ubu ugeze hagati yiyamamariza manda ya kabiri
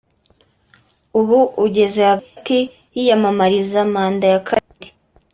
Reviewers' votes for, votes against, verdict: 2, 1, accepted